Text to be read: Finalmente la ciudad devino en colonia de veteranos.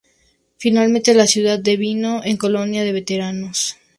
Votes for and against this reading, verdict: 4, 0, accepted